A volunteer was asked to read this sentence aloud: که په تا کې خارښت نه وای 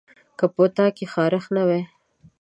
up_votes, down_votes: 2, 0